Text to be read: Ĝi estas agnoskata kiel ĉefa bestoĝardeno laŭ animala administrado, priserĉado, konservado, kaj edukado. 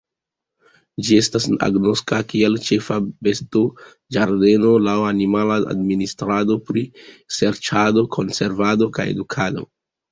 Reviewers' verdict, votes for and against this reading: rejected, 0, 2